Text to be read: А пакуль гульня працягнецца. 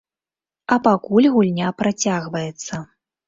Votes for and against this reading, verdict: 0, 2, rejected